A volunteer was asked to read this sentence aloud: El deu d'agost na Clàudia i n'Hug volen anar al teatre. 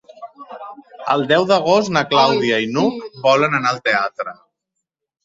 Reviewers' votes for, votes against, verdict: 0, 2, rejected